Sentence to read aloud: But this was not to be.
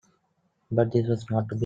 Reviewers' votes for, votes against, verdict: 2, 0, accepted